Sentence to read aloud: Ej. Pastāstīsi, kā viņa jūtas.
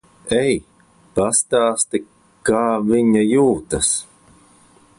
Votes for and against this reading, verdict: 1, 2, rejected